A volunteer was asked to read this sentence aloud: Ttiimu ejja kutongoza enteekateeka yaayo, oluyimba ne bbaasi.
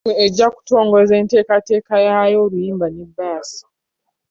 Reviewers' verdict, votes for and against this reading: accepted, 2, 0